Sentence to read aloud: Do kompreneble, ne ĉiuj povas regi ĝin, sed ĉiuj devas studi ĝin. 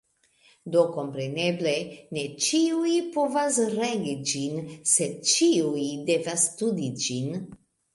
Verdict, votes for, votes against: accepted, 2, 0